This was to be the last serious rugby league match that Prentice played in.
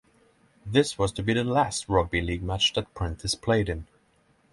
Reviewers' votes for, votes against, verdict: 0, 6, rejected